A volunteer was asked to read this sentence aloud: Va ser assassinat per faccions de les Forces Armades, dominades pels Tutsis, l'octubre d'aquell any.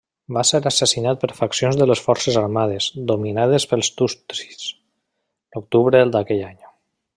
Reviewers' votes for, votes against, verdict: 2, 0, accepted